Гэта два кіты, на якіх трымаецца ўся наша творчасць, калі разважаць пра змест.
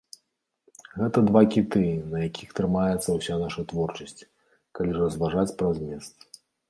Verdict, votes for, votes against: accepted, 2, 0